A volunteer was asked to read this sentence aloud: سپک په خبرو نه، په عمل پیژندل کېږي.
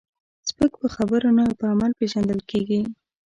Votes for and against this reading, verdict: 1, 2, rejected